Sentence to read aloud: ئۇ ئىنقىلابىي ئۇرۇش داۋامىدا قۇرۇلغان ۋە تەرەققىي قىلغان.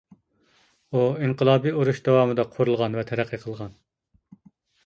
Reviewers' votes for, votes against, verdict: 2, 0, accepted